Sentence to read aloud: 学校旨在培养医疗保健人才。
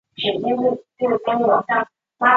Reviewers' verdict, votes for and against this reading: rejected, 0, 3